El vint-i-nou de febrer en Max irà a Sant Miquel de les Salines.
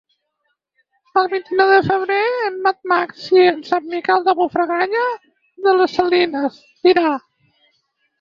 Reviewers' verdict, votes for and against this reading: rejected, 0, 6